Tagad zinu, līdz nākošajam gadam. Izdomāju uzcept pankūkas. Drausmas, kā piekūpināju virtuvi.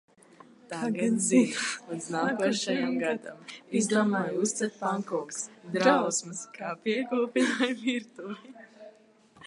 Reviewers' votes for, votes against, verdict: 0, 2, rejected